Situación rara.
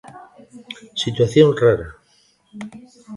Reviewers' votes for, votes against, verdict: 2, 0, accepted